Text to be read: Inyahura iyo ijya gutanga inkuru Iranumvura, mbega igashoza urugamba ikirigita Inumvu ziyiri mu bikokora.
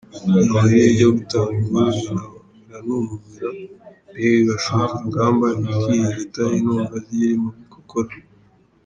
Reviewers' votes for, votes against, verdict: 0, 2, rejected